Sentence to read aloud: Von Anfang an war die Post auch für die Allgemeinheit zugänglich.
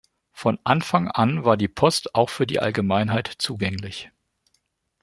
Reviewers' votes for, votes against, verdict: 2, 1, accepted